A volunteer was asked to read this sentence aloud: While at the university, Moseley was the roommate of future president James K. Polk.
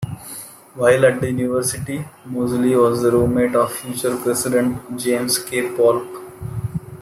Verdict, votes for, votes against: accepted, 2, 0